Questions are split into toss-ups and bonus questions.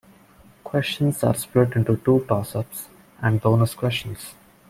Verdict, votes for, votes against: rejected, 0, 2